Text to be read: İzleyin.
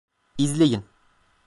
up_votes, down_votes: 2, 0